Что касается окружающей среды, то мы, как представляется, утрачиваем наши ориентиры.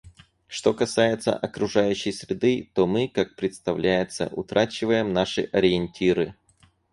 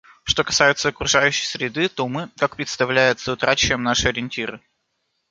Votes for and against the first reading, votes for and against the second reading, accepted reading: 4, 0, 1, 2, first